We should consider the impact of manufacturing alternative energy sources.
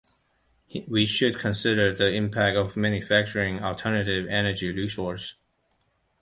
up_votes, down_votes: 1, 2